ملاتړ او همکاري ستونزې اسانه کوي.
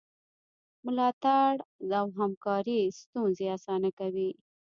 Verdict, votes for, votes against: accepted, 2, 1